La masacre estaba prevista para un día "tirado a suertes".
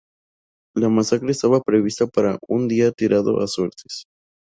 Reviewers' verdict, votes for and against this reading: accepted, 2, 0